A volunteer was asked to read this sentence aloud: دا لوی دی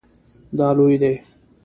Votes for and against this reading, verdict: 2, 0, accepted